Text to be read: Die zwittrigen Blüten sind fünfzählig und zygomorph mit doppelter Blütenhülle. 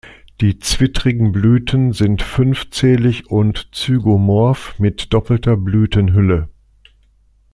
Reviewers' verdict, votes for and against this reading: accepted, 2, 0